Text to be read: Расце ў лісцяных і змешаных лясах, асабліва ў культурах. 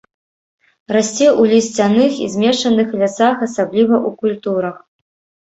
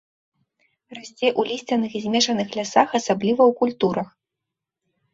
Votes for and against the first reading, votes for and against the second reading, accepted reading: 1, 2, 2, 1, second